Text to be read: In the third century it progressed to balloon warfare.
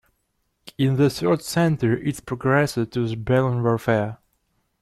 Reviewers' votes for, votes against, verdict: 1, 2, rejected